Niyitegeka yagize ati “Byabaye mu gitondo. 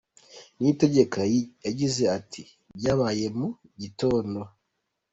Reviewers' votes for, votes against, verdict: 2, 1, accepted